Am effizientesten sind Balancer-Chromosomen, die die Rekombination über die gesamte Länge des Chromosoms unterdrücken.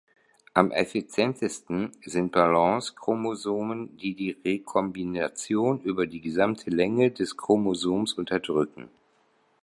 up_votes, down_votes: 1, 2